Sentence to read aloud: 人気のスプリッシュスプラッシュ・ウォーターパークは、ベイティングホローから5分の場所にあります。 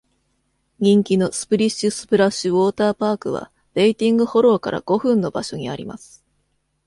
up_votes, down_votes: 0, 2